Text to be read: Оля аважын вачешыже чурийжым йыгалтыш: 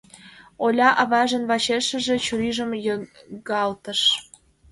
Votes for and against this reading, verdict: 1, 2, rejected